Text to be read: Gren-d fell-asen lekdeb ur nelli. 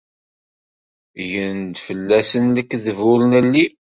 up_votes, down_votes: 2, 0